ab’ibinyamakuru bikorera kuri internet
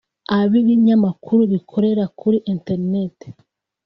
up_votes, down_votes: 2, 0